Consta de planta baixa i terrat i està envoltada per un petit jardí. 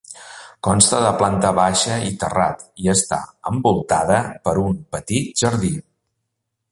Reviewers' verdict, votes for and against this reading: accepted, 3, 0